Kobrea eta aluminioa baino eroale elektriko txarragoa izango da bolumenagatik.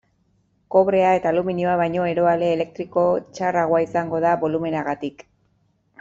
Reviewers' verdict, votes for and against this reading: accepted, 2, 0